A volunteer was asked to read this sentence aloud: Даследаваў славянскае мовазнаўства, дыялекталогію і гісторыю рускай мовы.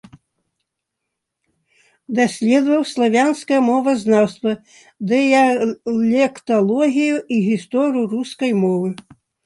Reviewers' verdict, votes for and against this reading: rejected, 1, 2